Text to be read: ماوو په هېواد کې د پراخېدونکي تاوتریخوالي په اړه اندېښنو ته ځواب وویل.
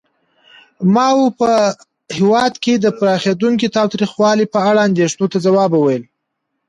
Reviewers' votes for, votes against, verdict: 2, 0, accepted